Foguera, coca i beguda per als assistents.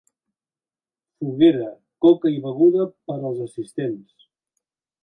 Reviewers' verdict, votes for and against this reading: accepted, 2, 0